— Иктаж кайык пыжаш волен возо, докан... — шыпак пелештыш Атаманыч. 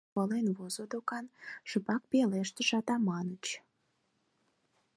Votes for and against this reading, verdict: 2, 4, rejected